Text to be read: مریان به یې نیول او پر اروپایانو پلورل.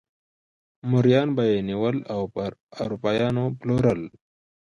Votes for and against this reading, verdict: 0, 2, rejected